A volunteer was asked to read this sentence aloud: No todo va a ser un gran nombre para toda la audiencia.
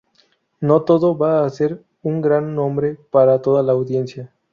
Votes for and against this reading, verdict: 2, 0, accepted